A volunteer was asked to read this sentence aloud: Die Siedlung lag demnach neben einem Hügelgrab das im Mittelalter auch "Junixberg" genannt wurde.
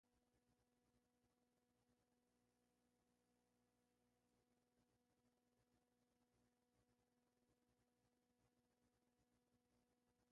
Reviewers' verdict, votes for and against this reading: rejected, 0, 2